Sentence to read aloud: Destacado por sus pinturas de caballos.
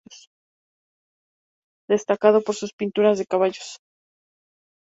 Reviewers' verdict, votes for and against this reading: accepted, 4, 0